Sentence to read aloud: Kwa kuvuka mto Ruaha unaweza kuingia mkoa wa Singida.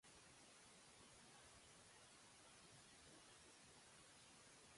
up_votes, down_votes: 0, 2